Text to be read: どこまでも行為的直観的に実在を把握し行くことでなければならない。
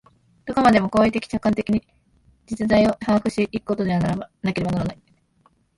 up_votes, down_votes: 0, 2